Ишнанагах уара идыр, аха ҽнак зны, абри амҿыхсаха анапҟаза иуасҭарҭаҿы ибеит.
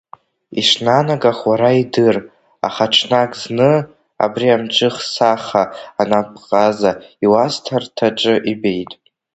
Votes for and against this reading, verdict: 1, 2, rejected